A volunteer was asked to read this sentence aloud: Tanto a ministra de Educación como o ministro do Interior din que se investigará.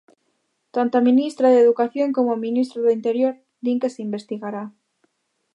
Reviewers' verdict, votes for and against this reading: accepted, 2, 0